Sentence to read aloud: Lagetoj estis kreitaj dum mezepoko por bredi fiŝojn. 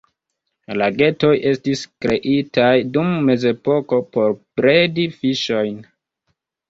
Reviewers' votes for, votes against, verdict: 2, 1, accepted